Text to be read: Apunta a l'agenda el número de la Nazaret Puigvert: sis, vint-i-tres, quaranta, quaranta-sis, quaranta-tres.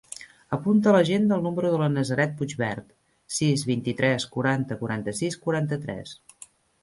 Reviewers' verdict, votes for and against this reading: accepted, 2, 0